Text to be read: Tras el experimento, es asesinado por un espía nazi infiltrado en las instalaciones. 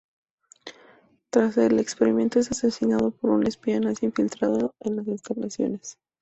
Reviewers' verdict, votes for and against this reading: rejected, 2, 2